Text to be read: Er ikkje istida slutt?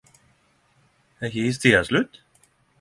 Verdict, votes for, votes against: accepted, 10, 0